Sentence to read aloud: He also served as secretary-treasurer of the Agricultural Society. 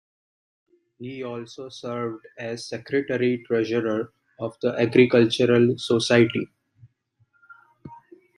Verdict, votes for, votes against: accepted, 2, 0